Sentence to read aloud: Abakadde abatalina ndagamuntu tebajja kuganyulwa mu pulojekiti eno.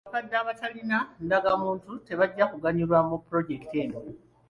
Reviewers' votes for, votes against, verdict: 2, 1, accepted